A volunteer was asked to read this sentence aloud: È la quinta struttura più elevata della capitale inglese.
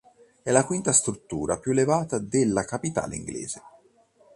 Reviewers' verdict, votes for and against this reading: accepted, 2, 0